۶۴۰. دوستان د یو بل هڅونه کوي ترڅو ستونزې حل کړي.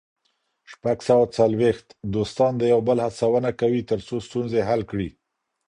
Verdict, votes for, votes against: rejected, 0, 2